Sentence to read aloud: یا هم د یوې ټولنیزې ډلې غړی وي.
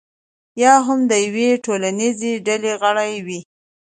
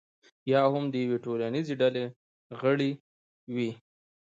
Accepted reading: first